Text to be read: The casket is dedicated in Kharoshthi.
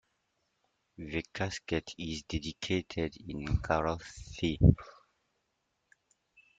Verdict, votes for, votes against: accepted, 2, 1